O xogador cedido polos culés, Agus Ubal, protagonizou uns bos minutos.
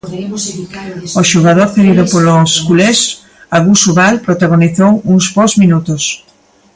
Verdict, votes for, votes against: rejected, 0, 2